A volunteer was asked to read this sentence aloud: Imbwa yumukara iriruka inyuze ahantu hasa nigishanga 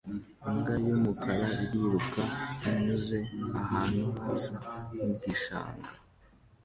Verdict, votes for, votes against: accepted, 2, 0